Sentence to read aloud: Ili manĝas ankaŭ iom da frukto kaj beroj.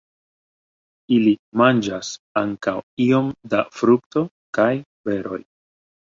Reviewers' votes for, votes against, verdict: 1, 2, rejected